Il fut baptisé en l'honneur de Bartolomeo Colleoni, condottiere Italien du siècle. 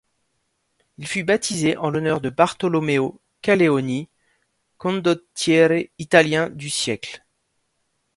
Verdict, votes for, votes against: rejected, 1, 2